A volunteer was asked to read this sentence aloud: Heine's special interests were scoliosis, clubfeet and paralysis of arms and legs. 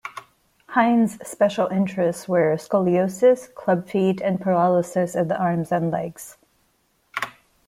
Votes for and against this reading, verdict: 1, 2, rejected